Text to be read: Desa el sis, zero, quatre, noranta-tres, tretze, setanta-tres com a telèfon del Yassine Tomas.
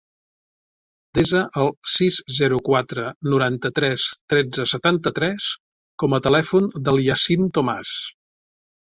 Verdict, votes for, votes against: accepted, 3, 0